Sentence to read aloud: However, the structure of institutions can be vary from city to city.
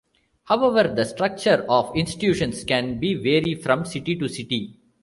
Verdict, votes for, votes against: rejected, 0, 2